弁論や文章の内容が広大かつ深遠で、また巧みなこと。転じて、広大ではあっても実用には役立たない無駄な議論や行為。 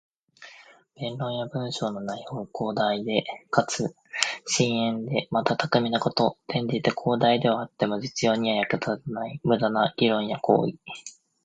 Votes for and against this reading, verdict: 0, 2, rejected